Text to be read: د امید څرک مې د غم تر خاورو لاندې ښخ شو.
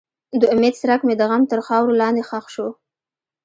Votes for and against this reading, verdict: 3, 0, accepted